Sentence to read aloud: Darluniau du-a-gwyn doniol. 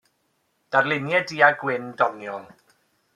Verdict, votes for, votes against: accepted, 2, 0